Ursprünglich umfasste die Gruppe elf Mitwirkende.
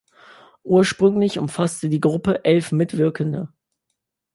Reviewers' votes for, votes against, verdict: 2, 0, accepted